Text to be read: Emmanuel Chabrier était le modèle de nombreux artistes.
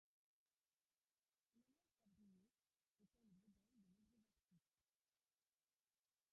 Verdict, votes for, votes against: rejected, 0, 2